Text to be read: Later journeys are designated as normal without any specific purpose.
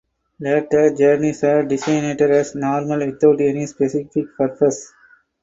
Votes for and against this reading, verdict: 0, 2, rejected